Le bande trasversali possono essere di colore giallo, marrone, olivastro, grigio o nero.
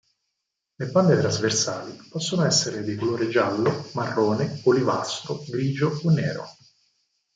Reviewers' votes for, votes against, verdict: 0, 4, rejected